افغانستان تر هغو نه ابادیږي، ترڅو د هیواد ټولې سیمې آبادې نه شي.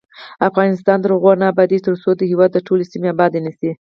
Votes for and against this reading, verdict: 4, 0, accepted